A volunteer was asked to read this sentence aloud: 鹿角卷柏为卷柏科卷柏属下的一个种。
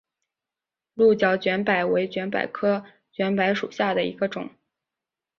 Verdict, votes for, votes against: accepted, 3, 0